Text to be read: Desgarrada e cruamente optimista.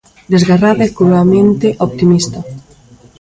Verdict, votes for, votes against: rejected, 1, 2